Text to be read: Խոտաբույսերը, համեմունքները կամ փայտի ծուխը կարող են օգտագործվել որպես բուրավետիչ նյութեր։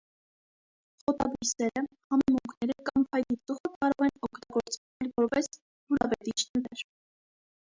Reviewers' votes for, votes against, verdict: 1, 2, rejected